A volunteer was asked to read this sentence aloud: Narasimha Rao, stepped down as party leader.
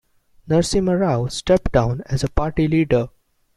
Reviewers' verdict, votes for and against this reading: rejected, 0, 2